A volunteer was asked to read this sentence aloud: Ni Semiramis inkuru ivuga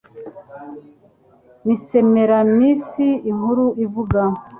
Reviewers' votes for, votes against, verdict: 2, 0, accepted